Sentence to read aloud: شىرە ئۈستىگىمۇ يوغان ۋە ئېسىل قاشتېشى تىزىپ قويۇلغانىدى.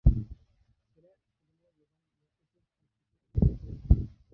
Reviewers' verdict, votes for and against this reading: rejected, 0, 2